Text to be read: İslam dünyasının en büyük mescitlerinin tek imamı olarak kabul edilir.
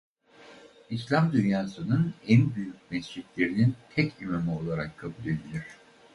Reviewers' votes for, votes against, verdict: 2, 4, rejected